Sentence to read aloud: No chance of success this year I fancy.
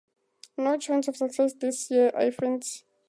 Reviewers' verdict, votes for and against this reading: rejected, 0, 2